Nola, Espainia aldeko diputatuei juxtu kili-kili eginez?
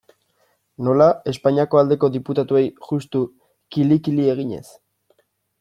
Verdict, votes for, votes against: rejected, 1, 2